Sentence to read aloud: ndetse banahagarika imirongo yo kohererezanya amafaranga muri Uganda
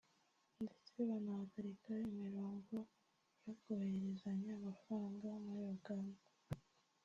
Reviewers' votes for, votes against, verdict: 0, 2, rejected